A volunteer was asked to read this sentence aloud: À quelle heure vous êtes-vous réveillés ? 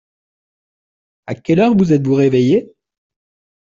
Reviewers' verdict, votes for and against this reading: accepted, 2, 0